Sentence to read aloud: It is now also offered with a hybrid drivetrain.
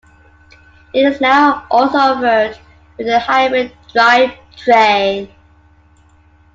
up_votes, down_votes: 1, 2